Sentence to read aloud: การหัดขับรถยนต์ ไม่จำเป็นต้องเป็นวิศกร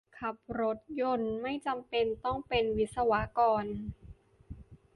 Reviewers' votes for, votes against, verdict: 0, 2, rejected